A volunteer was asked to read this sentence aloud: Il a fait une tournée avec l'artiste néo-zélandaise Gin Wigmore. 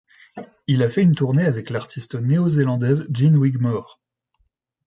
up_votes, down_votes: 2, 0